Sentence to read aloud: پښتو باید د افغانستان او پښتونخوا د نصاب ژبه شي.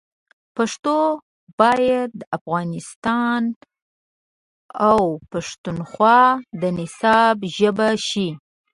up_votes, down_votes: 2, 1